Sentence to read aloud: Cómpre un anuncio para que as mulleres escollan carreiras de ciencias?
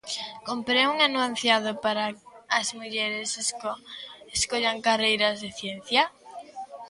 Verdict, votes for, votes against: rejected, 0, 2